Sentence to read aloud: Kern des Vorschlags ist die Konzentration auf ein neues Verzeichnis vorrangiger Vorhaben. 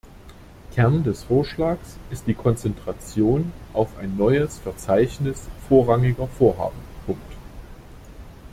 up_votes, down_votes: 0, 2